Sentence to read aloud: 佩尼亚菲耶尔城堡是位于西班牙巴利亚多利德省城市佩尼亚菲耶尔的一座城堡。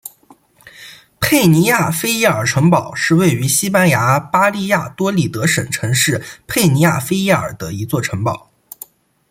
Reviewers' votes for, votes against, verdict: 2, 0, accepted